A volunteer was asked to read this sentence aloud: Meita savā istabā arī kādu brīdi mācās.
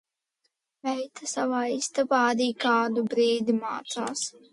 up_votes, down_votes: 2, 0